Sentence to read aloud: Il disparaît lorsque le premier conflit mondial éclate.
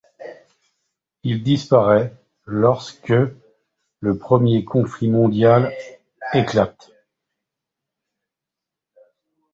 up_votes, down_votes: 3, 0